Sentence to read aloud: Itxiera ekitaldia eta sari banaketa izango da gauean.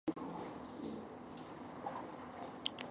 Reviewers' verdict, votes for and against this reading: rejected, 0, 3